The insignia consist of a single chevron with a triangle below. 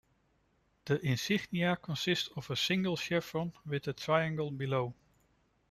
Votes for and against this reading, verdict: 2, 0, accepted